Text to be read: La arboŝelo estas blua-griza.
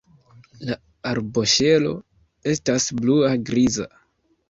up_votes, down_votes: 0, 2